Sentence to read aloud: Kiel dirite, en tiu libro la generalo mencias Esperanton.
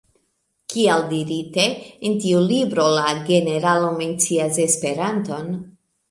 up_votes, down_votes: 0, 2